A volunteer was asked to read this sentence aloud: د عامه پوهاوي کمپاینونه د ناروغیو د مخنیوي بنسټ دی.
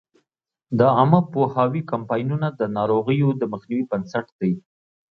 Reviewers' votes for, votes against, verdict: 2, 0, accepted